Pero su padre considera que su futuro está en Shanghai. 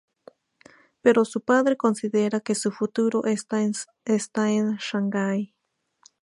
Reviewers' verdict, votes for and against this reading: rejected, 0, 2